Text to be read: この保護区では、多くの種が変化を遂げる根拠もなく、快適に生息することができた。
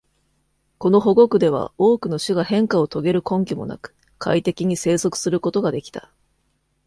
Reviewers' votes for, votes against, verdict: 2, 0, accepted